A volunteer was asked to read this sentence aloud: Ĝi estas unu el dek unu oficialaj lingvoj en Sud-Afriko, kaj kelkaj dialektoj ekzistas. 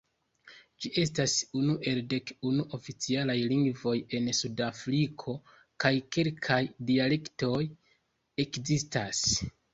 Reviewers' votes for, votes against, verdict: 2, 0, accepted